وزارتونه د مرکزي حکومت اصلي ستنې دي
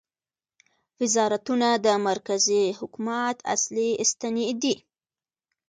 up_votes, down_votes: 2, 1